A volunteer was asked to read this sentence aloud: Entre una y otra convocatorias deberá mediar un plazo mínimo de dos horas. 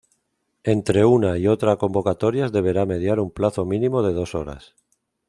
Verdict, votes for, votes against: accepted, 2, 0